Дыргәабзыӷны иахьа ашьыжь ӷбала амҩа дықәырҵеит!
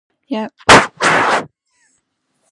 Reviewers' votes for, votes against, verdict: 1, 2, rejected